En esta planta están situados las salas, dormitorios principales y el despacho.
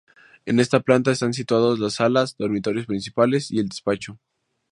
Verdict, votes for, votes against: rejected, 0, 2